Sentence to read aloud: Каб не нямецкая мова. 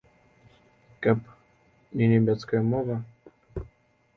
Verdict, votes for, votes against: accepted, 2, 0